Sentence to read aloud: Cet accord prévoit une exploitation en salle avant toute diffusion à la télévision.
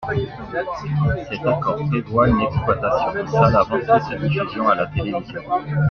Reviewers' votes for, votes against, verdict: 2, 1, accepted